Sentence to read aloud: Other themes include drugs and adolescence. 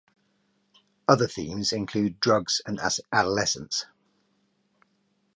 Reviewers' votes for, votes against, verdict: 2, 2, rejected